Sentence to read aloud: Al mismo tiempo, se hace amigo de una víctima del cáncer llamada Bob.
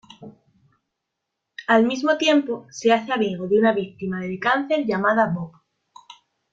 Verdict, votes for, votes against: rejected, 0, 2